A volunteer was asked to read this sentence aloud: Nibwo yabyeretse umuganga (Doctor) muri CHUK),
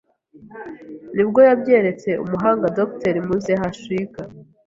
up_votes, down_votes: 0, 2